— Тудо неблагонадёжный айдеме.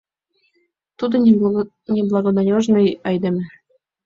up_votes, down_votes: 1, 2